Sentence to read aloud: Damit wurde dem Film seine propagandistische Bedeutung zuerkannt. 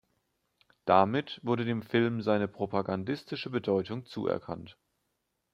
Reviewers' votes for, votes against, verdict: 2, 0, accepted